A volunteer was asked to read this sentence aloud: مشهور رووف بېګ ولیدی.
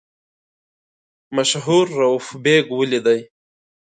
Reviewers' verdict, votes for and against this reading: accepted, 2, 0